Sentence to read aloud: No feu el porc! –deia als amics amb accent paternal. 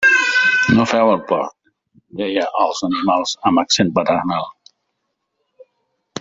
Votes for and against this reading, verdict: 0, 2, rejected